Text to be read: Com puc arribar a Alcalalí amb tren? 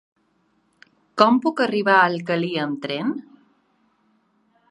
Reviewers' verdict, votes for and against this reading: rejected, 1, 2